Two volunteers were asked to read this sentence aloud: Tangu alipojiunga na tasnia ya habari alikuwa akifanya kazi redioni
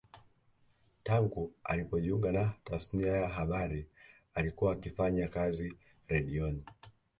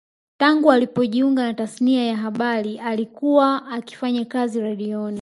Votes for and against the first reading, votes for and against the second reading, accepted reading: 2, 0, 1, 2, first